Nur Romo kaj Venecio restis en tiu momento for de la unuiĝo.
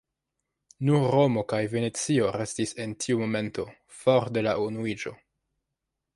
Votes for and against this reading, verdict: 2, 1, accepted